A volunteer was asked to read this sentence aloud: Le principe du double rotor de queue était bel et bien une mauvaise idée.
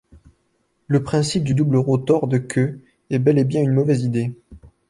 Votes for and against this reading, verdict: 1, 2, rejected